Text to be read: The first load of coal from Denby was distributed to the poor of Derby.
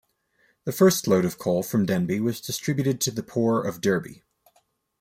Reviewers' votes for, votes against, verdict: 2, 0, accepted